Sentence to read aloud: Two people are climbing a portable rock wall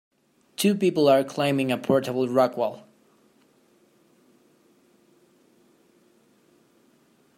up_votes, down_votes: 2, 0